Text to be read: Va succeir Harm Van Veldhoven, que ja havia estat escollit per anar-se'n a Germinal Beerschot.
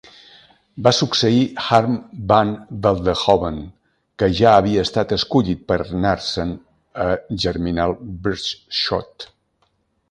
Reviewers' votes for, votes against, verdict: 1, 2, rejected